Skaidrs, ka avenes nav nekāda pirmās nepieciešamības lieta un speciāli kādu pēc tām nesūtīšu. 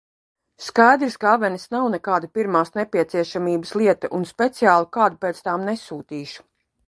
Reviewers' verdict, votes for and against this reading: accepted, 2, 0